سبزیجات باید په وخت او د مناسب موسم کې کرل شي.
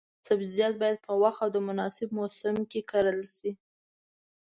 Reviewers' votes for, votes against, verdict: 2, 0, accepted